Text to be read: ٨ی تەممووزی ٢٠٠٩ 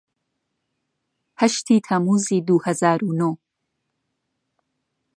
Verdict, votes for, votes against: rejected, 0, 2